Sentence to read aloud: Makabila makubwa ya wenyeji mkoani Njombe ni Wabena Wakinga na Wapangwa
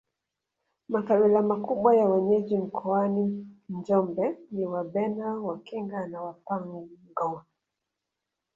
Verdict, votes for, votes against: accepted, 2, 0